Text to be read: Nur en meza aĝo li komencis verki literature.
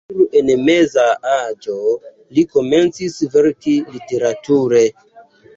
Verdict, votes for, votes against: rejected, 1, 2